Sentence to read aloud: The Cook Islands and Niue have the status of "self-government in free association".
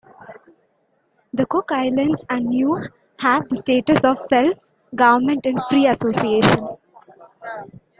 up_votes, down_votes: 2, 1